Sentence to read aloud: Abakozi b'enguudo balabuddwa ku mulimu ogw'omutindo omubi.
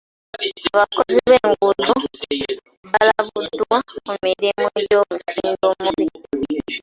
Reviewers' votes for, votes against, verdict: 2, 1, accepted